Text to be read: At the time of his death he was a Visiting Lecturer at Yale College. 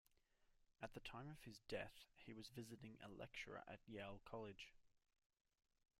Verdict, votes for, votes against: rejected, 0, 2